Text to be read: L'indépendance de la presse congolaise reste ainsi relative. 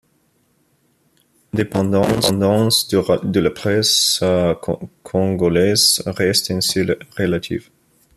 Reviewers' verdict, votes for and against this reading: rejected, 0, 2